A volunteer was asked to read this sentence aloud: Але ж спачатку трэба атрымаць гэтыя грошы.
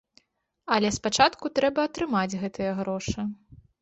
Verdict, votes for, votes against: rejected, 1, 2